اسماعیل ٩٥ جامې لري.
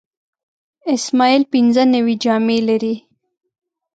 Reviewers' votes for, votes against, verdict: 0, 2, rejected